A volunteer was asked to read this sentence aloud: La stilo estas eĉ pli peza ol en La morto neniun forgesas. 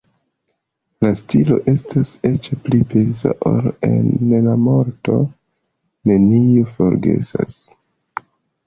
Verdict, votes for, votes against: accepted, 2, 0